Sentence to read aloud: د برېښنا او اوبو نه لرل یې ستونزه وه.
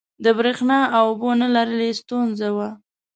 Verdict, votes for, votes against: accepted, 2, 0